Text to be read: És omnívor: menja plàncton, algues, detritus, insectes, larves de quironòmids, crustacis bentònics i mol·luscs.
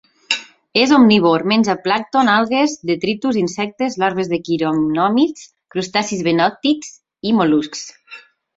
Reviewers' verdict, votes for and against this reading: rejected, 0, 3